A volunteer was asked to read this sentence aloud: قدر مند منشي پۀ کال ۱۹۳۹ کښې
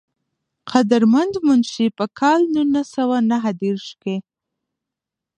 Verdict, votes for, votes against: rejected, 0, 2